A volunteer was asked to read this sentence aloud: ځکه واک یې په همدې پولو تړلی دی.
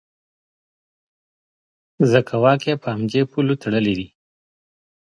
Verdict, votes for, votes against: accepted, 2, 0